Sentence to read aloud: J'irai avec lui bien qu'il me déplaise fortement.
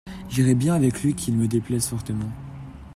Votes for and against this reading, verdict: 0, 2, rejected